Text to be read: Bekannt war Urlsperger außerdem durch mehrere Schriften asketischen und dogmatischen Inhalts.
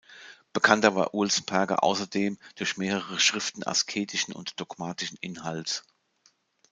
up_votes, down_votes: 0, 2